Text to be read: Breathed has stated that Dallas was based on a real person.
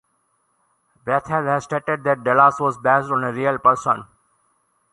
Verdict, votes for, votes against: rejected, 0, 2